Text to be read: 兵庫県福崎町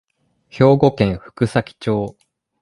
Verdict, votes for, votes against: accepted, 2, 0